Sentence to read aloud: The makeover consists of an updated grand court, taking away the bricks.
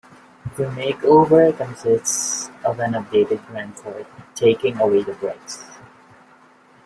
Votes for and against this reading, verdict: 2, 0, accepted